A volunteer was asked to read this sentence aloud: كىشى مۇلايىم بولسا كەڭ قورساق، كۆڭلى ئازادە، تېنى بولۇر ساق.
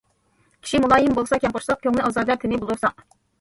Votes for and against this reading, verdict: 1, 2, rejected